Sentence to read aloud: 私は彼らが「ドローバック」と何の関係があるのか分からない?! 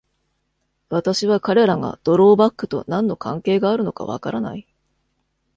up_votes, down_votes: 2, 0